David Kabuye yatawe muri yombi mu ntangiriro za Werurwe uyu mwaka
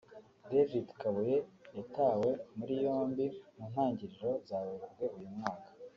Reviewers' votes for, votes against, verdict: 3, 0, accepted